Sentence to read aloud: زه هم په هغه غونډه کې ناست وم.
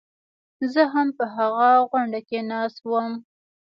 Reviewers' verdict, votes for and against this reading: rejected, 1, 2